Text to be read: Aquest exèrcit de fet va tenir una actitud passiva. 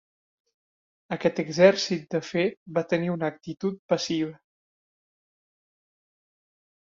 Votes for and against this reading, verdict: 3, 0, accepted